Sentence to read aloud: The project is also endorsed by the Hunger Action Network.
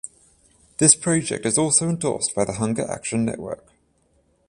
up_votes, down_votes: 7, 7